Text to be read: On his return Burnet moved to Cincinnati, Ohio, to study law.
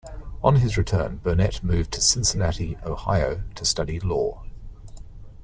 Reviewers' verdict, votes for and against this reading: accepted, 2, 0